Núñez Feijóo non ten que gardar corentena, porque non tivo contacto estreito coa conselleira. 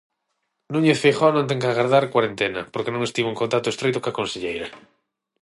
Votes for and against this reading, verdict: 0, 6, rejected